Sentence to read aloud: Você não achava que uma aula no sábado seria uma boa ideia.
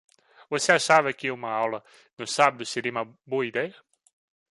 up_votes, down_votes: 1, 4